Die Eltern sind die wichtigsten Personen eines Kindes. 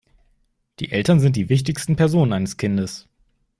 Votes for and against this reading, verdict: 2, 0, accepted